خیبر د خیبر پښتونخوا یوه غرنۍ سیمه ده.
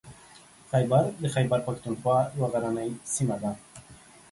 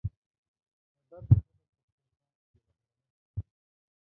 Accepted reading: first